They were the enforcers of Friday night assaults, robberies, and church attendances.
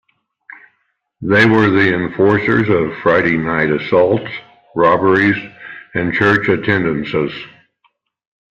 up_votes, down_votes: 1, 2